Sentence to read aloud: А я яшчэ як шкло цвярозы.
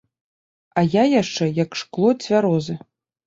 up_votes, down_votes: 2, 0